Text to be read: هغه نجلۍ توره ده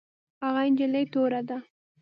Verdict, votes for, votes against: accepted, 3, 0